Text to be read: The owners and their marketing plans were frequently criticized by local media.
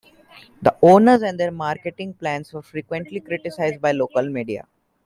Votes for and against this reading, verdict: 1, 2, rejected